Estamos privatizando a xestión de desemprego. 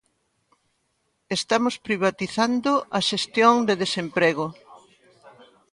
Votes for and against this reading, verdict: 1, 2, rejected